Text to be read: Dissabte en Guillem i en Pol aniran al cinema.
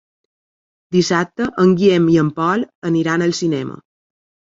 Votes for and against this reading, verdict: 0, 2, rejected